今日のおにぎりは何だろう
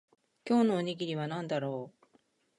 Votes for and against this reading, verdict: 2, 1, accepted